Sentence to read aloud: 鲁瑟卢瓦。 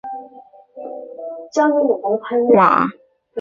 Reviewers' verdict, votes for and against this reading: rejected, 3, 4